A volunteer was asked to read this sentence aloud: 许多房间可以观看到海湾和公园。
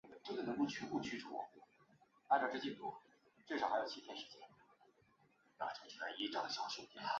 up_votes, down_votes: 1, 3